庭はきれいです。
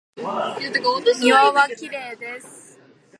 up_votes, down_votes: 2, 0